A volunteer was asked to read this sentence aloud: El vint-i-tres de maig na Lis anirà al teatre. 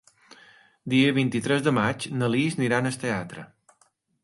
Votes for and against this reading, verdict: 2, 3, rejected